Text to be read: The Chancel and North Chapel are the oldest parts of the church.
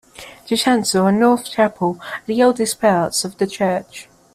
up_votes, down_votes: 2, 0